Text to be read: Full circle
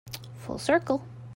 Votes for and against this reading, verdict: 2, 0, accepted